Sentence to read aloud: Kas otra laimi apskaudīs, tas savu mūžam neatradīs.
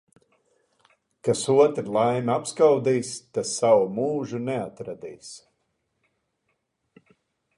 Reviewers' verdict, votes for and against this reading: rejected, 1, 2